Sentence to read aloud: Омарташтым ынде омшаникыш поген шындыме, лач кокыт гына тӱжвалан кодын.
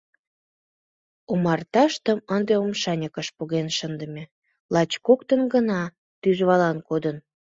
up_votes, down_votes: 1, 2